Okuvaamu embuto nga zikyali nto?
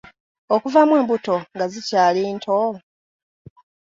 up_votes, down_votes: 2, 1